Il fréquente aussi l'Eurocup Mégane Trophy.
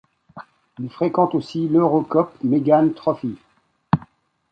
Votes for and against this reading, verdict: 2, 0, accepted